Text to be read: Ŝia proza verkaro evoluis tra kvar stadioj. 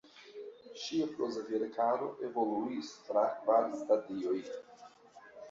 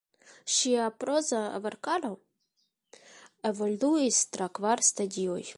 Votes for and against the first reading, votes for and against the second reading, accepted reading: 1, 2, 2, 1, second